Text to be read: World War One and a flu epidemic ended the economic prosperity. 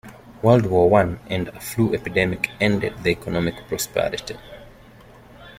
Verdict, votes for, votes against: accepted, 2, 0